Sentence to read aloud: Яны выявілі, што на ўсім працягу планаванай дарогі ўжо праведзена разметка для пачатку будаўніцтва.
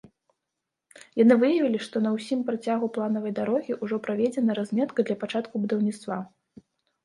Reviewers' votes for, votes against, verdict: 2, 0, accepted